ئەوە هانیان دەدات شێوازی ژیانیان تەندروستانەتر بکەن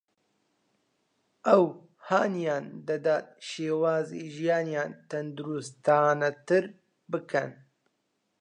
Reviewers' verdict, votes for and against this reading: rejected, 0, 2